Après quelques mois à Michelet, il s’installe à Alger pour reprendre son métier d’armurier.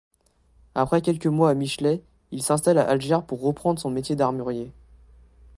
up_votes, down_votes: 1, 2